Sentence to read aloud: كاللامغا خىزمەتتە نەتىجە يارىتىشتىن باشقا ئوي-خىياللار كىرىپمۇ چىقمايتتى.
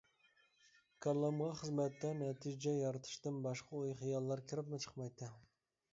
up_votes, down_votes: 2, 0